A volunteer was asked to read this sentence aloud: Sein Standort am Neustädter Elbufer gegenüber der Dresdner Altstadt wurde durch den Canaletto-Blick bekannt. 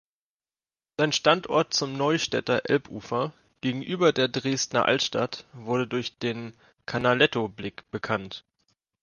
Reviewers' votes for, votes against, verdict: 0, 2, rejected